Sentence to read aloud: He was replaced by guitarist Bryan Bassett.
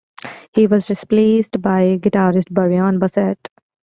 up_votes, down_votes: 2, 0